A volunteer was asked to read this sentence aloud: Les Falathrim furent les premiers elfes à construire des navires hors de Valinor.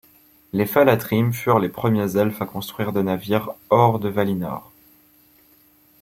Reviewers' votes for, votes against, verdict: 2, 0, accepted